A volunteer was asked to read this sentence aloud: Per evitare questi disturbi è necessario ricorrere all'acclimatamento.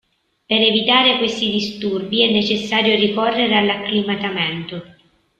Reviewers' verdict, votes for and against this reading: rejected, 1, 2